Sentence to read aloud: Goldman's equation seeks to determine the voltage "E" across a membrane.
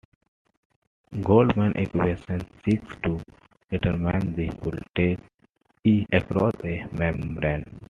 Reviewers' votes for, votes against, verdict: 2, 0, accepted